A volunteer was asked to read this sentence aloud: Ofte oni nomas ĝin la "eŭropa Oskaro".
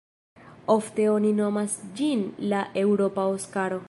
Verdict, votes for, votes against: rejected, 0, 2